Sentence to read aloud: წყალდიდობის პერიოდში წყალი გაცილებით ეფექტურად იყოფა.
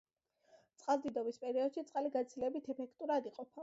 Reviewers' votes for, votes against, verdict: 0, 2, rejected